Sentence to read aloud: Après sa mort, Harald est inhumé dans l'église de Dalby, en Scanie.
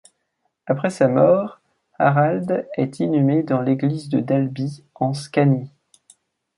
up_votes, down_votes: 2, 0